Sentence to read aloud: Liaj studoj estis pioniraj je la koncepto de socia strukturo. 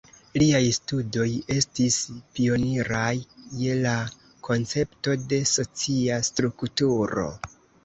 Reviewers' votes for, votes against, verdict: 2, 1, accepted